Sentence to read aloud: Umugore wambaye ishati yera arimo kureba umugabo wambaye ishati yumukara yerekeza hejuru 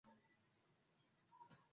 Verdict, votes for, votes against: rejected, 0, 2